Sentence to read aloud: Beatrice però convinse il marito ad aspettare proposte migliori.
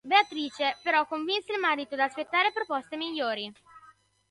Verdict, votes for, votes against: accepted, 2, 0